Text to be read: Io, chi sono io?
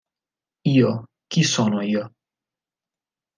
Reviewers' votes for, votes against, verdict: 2, 0, accepted